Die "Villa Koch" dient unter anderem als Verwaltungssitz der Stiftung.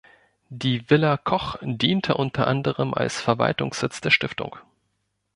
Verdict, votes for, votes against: rejected, 1, 2